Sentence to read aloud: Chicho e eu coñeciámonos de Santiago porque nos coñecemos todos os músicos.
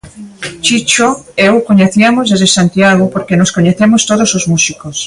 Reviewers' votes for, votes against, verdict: 1, 2, rejected